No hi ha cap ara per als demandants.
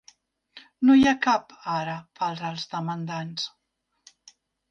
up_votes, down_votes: 0, 2